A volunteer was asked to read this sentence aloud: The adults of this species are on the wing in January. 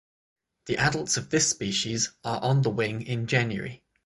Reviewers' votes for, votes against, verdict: 6, 0, accepted